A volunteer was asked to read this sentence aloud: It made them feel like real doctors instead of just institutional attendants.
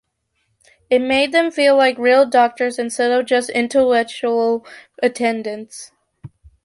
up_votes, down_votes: 1, 2